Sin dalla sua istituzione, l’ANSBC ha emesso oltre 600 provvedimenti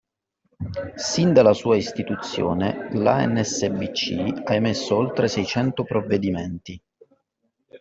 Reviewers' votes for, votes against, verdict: 0, 2, rejected